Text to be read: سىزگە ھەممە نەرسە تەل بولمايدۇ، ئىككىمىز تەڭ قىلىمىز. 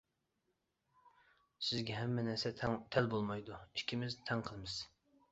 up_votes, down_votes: 0, 2